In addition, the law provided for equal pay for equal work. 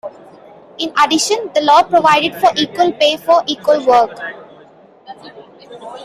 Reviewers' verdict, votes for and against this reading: accepted, 2, 0